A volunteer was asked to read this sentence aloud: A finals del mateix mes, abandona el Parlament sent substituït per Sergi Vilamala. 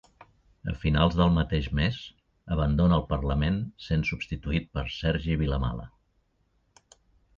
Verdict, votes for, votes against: accepted, 2, 0